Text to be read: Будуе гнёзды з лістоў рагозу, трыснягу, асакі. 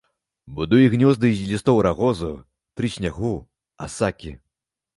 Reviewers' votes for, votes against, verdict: 0, 2, rejected